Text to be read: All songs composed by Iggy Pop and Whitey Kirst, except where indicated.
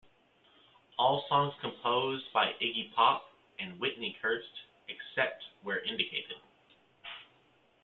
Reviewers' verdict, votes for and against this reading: rejected, 0, 2